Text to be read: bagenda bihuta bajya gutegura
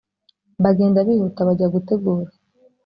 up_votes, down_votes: 2, 0